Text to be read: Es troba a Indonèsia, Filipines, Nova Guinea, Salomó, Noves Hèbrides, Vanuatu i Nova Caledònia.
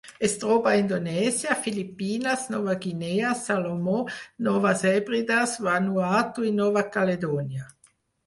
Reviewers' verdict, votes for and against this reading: accepted, 4, 0